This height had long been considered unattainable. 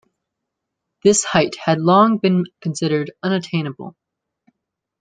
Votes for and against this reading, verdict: 2, 0, accepted